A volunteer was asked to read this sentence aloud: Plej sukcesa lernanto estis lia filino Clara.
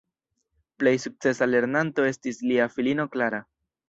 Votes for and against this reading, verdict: 1, 2, rejected